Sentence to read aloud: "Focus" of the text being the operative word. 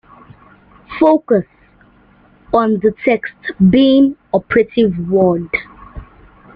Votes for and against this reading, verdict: 1, 2, rejected